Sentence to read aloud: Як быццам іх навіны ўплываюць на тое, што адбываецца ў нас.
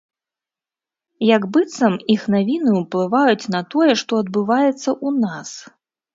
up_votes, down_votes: 0, 2